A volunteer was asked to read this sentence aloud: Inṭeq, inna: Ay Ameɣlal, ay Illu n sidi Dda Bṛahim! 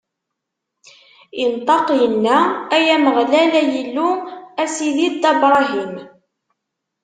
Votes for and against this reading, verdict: 1, 2, rejected